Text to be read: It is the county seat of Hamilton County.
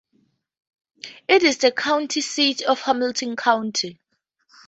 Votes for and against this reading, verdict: 4, 0, accepted